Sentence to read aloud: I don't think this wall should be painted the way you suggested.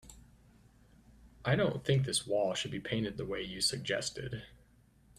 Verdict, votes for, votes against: accepted, 2, 0